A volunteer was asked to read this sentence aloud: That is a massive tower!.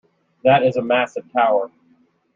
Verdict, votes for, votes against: accepted, 2, 0